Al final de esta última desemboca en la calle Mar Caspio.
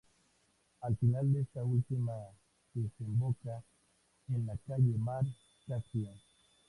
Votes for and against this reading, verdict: 0, 2, rejected